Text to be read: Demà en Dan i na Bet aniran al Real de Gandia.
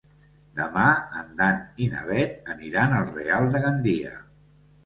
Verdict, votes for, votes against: accepted, 2, 0